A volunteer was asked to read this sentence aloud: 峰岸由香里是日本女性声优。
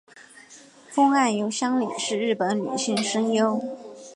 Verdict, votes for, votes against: accepted, 2, 0